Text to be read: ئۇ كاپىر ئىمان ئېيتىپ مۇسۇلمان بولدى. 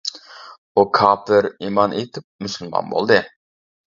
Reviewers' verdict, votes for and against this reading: rejected, 1, 2